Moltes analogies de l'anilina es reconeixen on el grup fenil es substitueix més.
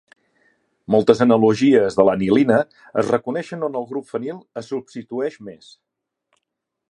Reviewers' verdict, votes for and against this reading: accepted, 2, 0